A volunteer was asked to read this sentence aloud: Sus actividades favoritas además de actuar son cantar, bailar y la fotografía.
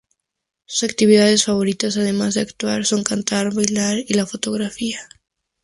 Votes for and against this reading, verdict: 2, 0, accepted